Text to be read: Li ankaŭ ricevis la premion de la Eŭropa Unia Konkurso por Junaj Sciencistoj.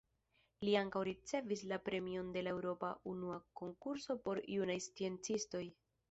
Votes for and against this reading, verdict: 0, 2, rejected